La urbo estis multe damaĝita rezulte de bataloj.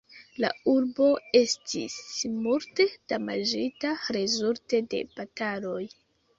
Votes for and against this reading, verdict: 2, 0, accepted